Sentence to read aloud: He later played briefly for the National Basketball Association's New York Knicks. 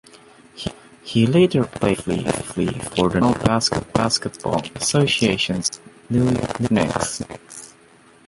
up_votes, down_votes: 0, 2